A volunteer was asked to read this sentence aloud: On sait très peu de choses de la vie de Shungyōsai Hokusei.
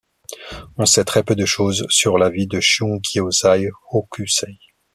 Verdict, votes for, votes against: rejected, 1, 2